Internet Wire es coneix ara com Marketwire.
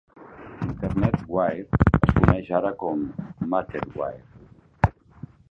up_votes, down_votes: 2, 1